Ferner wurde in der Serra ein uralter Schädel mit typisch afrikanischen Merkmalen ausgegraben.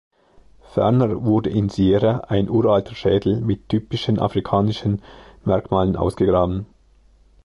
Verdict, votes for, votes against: rejected, 0, 2